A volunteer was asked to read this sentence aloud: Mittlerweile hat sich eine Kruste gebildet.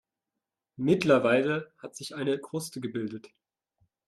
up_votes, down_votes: 2, 0